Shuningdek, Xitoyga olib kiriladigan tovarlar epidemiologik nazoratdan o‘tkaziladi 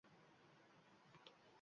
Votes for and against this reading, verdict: 1, 2, rejected